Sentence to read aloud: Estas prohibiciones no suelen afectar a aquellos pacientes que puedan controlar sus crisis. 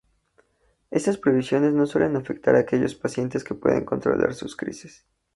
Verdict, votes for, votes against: accepted, 2, 0